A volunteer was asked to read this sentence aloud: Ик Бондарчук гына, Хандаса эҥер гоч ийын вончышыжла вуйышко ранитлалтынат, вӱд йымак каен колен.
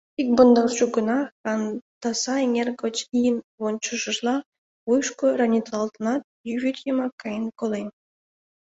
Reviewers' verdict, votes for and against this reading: rejected, 0, 2